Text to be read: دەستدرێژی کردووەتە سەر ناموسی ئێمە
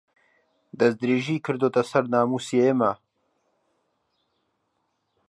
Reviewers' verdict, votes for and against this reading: accepted, 2, 0